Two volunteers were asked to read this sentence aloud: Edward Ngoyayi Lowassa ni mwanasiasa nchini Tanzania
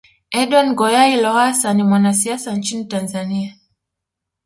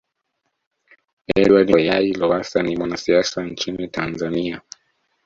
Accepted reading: first